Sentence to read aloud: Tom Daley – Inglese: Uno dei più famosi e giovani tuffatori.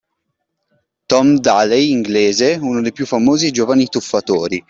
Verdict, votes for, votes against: accepted, 2, 0